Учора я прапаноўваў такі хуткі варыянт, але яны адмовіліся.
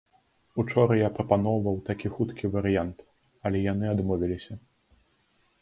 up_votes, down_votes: 2, 0